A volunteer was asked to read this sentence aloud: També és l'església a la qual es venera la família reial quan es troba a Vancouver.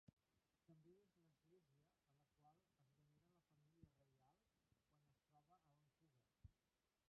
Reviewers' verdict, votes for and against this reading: rejected, 0, 2